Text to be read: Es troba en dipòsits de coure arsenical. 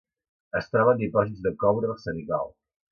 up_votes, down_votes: 2, 0